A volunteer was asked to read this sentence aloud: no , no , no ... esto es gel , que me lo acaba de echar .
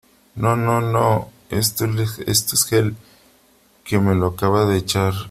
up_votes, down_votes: 0, 2